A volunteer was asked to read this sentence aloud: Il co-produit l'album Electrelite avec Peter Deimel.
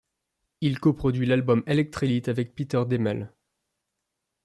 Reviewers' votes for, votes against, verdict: 2, 0, accepted